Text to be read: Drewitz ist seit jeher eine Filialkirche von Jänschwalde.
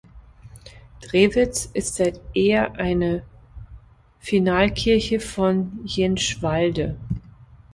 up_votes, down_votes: 0, 3